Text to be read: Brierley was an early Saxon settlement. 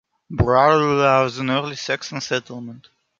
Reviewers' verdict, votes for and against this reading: rejected, 1, 2